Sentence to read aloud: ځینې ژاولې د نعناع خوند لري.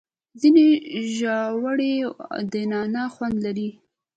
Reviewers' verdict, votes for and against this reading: rejected, 0, 2